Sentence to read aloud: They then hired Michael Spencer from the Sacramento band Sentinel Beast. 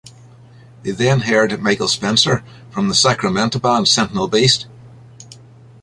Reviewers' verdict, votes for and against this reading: accepted, 3, 1